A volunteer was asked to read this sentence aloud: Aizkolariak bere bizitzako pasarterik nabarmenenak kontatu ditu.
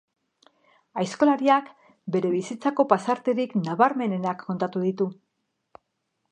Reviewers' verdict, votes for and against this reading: accepted, 2, 1